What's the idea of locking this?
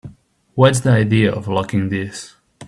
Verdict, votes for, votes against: accepted, 2, 0